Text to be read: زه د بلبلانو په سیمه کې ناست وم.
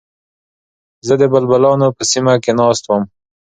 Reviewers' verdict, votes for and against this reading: accepted, 3, 0